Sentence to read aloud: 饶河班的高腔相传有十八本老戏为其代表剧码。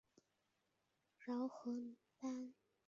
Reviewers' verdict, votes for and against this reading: rejected, 2, 3